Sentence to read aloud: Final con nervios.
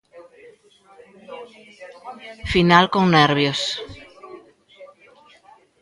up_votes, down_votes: 1, 2